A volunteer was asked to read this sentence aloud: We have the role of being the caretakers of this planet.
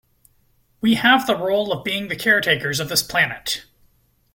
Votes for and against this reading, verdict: 2, 0, accepted